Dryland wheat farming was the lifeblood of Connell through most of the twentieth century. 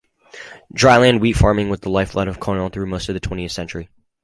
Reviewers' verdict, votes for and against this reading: accepted, 6, 2